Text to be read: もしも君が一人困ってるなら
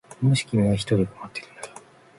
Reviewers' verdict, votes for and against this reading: rejected, 1, 2